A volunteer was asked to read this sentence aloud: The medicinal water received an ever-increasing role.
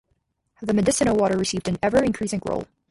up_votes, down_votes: 0, 4